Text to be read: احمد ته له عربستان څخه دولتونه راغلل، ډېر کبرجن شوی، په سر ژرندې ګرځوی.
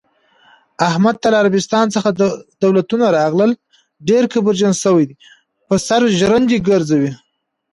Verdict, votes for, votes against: accepted, 2, 0